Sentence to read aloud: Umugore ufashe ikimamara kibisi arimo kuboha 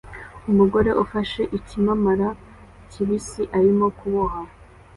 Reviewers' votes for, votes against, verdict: 2, 1, accepted